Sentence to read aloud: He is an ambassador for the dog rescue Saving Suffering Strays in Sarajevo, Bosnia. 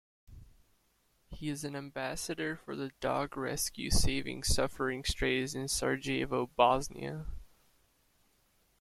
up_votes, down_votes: 1, 2